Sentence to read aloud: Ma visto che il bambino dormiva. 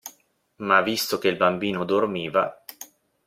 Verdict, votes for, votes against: accepted, 2, 1